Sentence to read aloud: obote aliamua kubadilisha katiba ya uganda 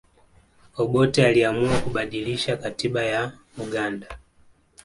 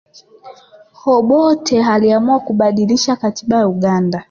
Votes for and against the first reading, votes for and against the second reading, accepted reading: 2, 0, 1, 2, first